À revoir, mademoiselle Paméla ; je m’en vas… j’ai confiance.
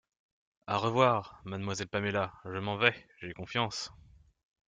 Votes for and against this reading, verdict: 1, 2, rejected